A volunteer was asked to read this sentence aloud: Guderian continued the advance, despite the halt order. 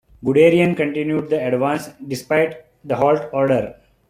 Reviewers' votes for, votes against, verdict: 2, 0, accepted